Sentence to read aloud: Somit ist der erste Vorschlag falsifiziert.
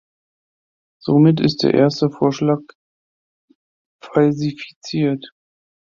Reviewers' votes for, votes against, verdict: 2, 1, accepted